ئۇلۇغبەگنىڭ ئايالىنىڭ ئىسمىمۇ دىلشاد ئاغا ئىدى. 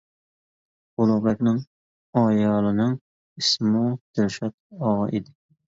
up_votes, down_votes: 0, 2